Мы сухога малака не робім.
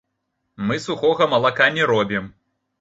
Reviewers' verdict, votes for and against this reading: rejected, 1, 2